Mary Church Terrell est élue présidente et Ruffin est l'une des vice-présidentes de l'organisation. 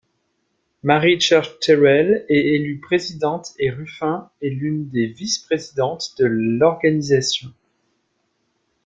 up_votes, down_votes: 1, 2